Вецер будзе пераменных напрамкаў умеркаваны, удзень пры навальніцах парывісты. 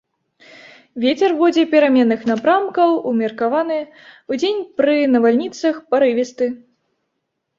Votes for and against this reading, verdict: 2, 0, accepted